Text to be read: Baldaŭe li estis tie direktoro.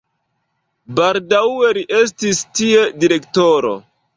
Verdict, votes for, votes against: accepted, 2, 0